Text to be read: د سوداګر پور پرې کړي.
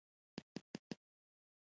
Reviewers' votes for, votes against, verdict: 1, 2, rejected